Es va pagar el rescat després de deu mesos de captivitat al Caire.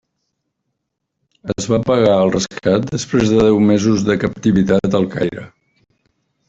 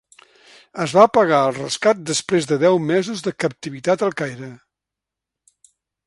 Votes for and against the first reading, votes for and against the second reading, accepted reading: 1, 2, 3, 0, second